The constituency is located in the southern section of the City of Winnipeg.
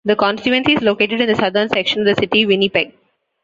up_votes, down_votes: 2, 1